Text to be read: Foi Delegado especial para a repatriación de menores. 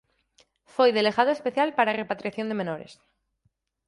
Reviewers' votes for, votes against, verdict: 4, 0, accepted